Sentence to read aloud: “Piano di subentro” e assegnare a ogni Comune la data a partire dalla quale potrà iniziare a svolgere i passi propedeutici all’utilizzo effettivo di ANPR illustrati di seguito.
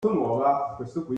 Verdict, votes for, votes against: rejected, 0, 2